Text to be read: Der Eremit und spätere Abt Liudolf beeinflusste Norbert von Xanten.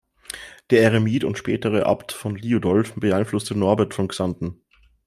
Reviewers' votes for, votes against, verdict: 2, 0, accepted